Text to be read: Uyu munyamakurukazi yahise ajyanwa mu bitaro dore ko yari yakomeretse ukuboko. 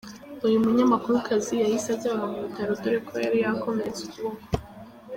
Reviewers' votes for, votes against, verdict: 2, 0, accepted